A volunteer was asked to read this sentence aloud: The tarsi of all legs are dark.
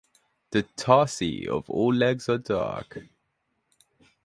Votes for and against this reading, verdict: 2, 0, accepted